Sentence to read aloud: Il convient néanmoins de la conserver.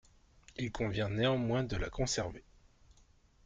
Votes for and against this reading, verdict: 1, 2, rejected